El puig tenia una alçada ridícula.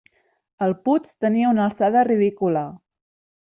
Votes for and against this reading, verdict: 1, 2, rejected